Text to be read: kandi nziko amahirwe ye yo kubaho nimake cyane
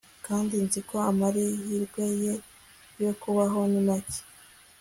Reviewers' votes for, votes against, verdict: 1, 2, rejected